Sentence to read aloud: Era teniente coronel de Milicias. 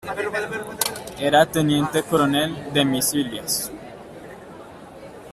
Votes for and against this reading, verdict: 1, 2, rejected